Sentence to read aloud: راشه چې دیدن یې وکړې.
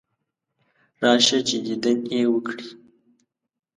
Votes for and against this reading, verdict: 1, 2, rejected